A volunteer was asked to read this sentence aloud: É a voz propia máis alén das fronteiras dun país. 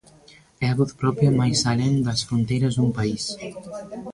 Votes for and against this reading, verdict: 2, 1, accepted